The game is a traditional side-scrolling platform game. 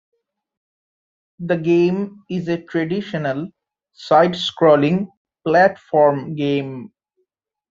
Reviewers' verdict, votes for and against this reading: accepted, 2, 1